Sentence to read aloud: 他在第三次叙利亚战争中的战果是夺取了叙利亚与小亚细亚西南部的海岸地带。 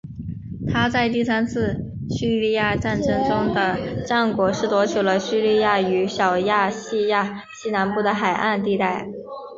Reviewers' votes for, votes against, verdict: 1, 3, rejected